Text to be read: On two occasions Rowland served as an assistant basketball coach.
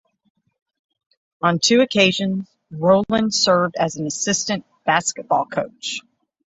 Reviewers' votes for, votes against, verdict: 3, 6, rejected